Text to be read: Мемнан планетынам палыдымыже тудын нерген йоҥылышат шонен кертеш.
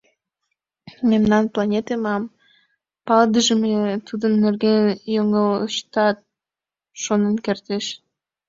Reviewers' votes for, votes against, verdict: 0, 2, rejected